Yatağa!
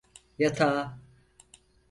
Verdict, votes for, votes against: accepted, 4, 0